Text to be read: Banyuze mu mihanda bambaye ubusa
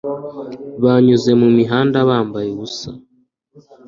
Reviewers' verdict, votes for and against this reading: accepted, 2, 0